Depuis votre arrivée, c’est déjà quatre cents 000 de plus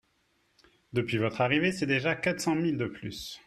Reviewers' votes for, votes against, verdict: 0, 2, rejected